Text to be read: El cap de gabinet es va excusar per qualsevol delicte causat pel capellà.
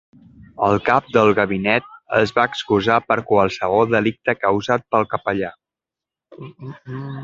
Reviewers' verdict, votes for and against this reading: accepted, 2, 1